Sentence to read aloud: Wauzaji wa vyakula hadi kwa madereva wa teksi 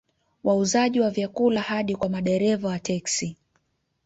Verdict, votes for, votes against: accepted, 2, 0